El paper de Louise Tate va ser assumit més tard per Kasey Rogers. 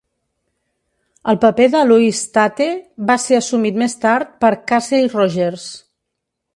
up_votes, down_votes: 0, 2